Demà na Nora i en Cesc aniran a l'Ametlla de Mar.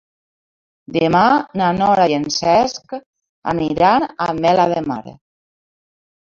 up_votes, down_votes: 1, 2